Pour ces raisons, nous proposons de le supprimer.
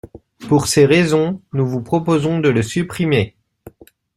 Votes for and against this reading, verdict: 0, 2, rejected